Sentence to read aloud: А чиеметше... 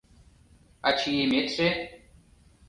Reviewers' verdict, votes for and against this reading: accepted, 2, 0